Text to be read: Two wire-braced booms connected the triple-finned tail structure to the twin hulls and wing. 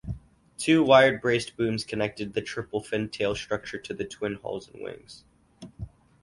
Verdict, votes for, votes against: rejected, 2, 2